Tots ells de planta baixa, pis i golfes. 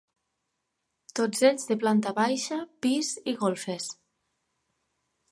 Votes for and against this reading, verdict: 2, 0, accepted